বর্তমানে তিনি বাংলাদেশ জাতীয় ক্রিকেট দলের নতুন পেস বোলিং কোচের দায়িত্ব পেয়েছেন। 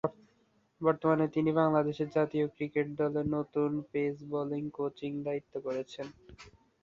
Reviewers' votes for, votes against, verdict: 0, 2, rejected